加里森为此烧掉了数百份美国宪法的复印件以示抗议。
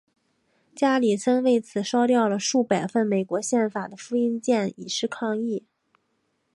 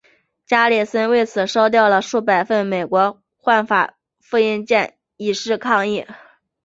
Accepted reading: first